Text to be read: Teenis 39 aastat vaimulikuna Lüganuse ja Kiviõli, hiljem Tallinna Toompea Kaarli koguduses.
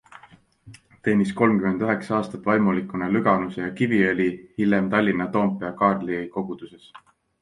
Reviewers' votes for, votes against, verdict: 0, 2, rejected